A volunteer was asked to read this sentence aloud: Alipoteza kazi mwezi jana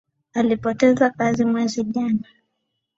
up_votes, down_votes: 2, 0